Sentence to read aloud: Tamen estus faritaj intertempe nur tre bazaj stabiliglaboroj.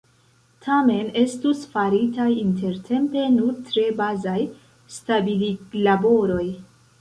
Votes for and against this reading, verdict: 1, 2, rejected